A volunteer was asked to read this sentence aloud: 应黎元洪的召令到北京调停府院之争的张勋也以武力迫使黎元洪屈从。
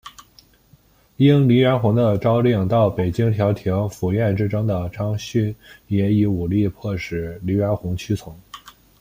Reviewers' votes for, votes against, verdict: 2, 0, accepted